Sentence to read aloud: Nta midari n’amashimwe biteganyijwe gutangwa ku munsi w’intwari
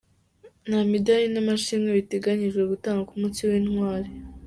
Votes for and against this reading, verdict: 2, 0, accepted